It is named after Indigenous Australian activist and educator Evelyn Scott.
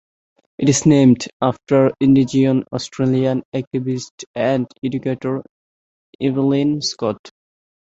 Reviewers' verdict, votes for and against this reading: rejected, 0, 2